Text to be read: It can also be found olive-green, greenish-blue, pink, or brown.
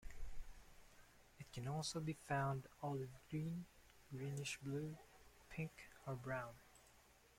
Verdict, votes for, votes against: rejected, 0, 2